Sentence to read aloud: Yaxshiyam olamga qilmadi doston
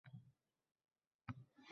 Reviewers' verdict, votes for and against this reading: rejected, 0, 4